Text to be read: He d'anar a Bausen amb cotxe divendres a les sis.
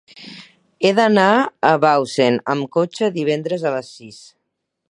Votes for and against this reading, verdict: 4, 2, accepted